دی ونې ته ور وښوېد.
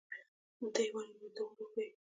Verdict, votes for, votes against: accepted, 2, 1